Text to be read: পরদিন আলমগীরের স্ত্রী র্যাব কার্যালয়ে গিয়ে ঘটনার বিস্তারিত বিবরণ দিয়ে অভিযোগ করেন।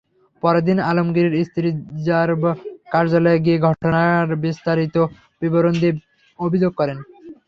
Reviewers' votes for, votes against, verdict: 3, 0, accepted